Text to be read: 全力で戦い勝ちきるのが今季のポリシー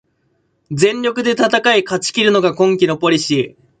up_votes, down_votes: 2, 0